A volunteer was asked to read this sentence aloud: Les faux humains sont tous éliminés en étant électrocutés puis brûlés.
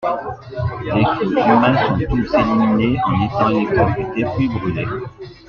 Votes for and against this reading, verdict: 0, 2, rejected